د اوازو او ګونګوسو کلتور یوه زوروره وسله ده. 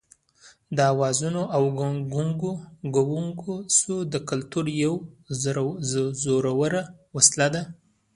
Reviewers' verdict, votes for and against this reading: rejected, 0, 2